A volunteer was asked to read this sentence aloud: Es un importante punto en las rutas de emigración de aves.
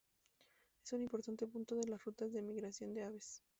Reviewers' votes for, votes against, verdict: 0, 2, rejected